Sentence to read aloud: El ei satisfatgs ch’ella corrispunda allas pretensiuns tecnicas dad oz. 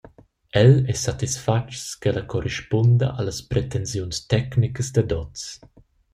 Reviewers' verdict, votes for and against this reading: rejected, 0, 2